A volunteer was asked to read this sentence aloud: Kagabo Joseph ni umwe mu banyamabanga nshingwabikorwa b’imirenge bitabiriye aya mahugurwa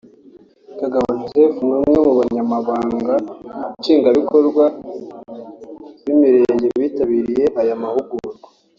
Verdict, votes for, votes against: accepted, 2, 0